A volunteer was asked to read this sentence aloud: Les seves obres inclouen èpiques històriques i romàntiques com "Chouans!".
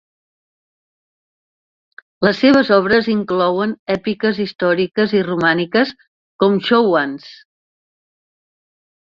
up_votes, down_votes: 1, 2